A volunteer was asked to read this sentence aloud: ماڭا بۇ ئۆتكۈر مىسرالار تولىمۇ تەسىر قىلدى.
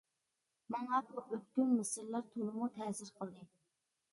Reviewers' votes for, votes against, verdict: 0, 2, rejected